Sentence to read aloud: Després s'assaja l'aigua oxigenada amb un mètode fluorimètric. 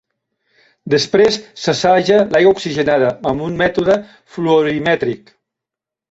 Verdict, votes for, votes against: accepted, 2, 0